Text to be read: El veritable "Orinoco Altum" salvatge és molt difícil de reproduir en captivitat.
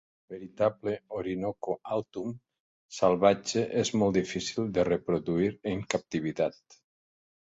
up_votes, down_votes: 0, 3